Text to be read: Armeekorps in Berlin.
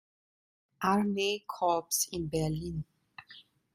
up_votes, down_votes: 2, 0